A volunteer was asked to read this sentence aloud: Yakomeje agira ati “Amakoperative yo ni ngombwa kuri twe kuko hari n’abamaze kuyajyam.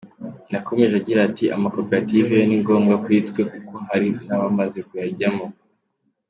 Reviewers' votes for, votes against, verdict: 2, 0, accepted